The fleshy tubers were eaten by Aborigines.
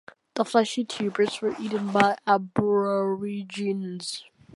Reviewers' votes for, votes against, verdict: 0, 2, rejected